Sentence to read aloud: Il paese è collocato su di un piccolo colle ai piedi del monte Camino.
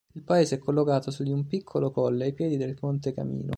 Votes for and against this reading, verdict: 2, 0, accepted